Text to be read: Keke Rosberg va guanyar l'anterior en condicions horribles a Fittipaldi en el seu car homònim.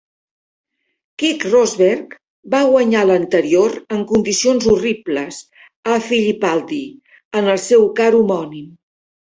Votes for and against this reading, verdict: 0, 2, rejected